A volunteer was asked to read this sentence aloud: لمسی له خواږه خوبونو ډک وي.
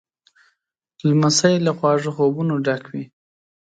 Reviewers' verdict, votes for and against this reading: accepted, 4, 0